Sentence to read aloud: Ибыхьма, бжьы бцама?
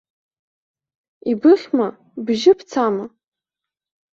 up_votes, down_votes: 2, 0